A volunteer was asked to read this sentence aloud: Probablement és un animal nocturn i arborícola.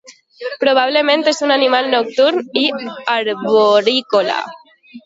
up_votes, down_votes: 1, 2